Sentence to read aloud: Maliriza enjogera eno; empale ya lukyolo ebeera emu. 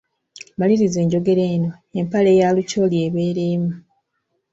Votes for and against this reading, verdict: 2, 0, accepted